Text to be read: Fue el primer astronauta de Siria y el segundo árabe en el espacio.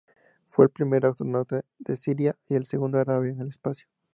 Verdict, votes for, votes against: accepted, 2, 0